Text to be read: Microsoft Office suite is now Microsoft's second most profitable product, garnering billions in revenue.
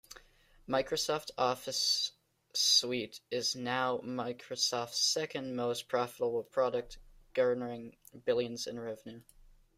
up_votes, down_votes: 1, 2